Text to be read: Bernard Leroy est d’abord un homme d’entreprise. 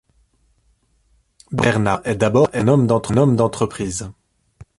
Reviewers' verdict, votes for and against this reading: rejected, 0, 2